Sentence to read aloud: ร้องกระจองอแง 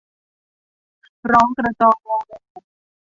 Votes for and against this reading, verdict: 2, 0, accepted